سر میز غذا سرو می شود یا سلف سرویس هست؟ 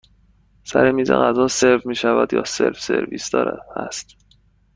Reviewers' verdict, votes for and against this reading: rejected, 1, 2